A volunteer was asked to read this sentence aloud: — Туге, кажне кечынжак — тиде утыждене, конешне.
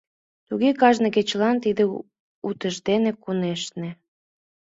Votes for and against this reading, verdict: 1, 2, rejected